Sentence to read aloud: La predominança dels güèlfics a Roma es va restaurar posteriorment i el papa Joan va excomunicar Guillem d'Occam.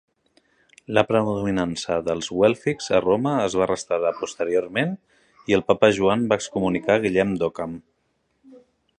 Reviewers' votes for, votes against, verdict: 0, 2, rejected